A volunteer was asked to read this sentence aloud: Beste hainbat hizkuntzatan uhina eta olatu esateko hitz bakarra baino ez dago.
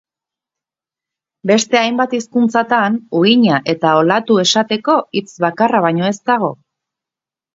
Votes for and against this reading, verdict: 2, 0, accepted